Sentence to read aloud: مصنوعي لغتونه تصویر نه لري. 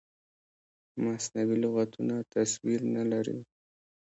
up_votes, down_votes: 3, 1